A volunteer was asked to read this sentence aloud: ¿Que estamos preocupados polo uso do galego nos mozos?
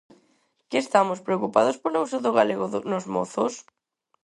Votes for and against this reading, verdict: 0, 4, rejected